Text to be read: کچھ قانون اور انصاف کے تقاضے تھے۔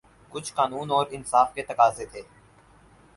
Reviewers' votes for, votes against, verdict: 4, 0, accepted